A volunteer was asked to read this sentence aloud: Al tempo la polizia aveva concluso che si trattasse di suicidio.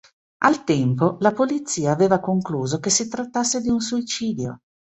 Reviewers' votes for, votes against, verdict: 1, 2, rejected